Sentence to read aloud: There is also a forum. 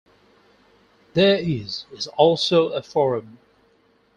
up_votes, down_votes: 4, 2